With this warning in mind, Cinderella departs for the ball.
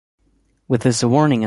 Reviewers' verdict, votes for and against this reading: rejected, 0, 2